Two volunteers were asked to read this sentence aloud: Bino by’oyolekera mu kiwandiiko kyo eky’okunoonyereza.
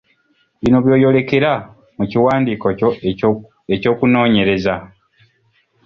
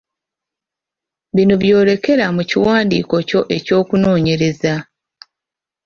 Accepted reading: first